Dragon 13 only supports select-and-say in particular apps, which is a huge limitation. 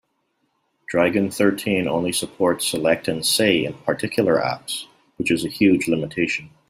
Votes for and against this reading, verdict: 0, 2, rejected